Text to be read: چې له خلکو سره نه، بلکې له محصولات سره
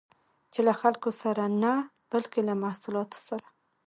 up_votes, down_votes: 1, 2